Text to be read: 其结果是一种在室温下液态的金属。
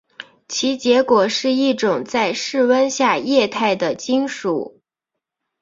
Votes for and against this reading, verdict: 3, 0, accepted